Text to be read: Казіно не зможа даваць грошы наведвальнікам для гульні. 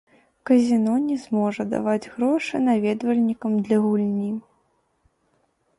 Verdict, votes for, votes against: rejected, 2, 3